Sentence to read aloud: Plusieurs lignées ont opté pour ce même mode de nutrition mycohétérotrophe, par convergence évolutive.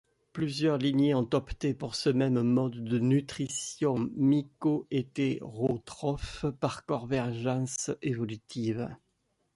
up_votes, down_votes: 2, 0